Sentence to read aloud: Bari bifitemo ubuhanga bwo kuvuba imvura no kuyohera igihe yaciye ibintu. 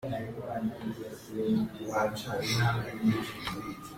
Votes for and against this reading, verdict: 0, 3, rejected